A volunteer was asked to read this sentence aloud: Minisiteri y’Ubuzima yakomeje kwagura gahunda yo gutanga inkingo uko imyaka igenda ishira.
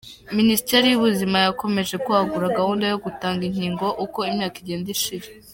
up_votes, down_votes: 0, 3